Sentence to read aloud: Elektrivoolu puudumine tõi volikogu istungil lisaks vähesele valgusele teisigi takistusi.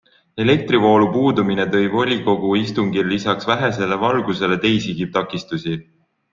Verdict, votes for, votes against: accepted, 2, 0